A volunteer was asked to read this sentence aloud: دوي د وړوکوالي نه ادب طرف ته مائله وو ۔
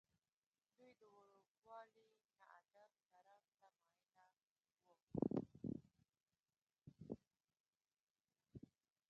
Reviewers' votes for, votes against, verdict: 1, 2, rejected